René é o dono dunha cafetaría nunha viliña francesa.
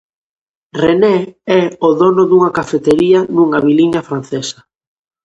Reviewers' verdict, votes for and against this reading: rejected, 0, 2